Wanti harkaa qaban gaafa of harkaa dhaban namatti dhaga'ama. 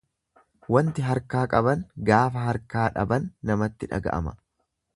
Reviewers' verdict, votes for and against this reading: rejected, 1, 2